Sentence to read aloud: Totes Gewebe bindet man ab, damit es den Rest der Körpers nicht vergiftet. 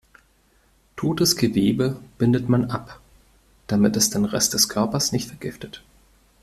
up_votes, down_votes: 2, 0